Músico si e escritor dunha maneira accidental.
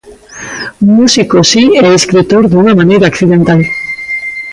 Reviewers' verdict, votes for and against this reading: rejected, 1, 2